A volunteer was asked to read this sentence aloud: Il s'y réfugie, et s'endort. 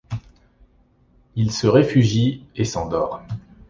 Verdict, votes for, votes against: rejected, 1, 2